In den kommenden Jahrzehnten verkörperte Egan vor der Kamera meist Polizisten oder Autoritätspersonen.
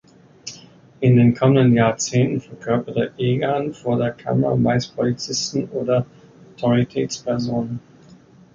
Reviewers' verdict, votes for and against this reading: rejected, 1, 2